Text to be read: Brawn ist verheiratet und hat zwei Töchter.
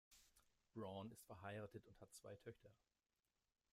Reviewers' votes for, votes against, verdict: 1, 2, rejected